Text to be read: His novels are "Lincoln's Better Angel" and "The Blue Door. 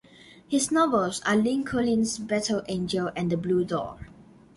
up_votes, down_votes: 2, 0